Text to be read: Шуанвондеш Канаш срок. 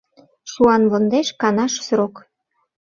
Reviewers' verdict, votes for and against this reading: accepted, 2, 0